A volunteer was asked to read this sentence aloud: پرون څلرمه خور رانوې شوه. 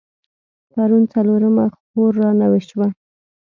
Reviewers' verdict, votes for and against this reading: accepted, 2, 0